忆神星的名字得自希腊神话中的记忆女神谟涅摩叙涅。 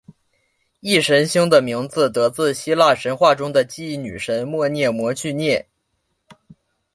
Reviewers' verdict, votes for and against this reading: accepted, 2, 0